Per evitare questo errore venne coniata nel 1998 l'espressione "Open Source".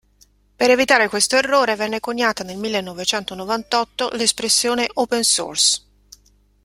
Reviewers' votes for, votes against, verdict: 0, 2, rejected